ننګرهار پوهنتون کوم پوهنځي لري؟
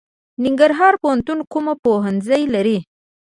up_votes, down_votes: 1, 2